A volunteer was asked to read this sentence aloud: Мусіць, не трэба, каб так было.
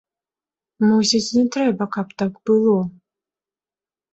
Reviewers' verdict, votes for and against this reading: accepted, 2, 0